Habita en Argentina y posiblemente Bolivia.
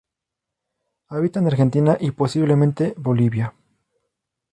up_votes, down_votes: 2, 0